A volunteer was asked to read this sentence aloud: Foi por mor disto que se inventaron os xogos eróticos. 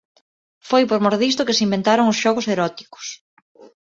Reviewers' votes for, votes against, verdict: 2, 0, accepted